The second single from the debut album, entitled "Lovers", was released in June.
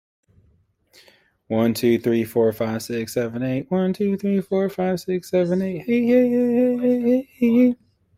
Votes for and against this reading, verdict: 0, 2, rejected